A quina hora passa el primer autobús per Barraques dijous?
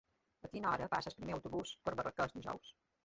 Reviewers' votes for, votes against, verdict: 1, 2, rejected